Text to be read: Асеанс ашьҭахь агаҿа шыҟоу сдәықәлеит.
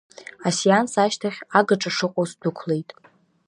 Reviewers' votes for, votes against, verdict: 2, 0, accepted